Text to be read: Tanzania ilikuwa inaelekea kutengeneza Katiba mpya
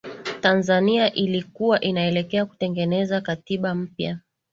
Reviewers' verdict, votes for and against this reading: accepted, 6, 0